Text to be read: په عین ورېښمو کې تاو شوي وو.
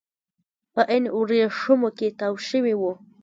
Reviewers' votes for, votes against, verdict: 0, 2, rejected